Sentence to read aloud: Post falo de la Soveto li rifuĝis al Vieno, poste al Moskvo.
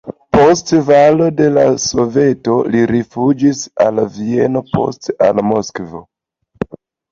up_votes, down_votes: 2, 0